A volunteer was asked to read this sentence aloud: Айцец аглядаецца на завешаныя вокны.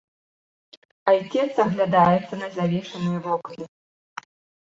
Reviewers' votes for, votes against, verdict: 2, 0, accepted